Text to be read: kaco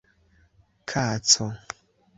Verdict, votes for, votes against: accepted, 3, 0